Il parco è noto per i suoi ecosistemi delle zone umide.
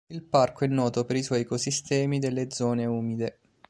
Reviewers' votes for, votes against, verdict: 2, 0, accepted